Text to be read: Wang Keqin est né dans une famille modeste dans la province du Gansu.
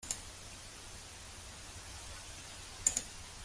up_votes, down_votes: 0, 2